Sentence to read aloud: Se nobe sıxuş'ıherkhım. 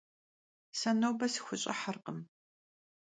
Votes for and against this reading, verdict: 3, 0, accepted